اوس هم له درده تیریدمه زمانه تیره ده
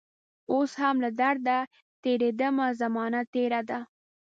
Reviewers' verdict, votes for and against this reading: accepted, 2, 1